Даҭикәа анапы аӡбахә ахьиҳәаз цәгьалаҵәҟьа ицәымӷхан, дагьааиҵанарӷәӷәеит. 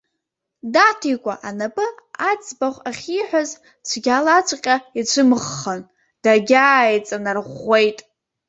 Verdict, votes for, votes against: accepted, 2, 0